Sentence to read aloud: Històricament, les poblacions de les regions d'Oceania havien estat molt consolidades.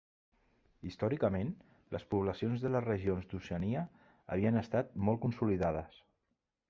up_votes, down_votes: 2, 0